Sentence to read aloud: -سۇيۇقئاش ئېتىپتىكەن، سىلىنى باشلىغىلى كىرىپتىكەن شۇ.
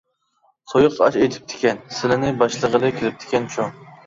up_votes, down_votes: 1, 2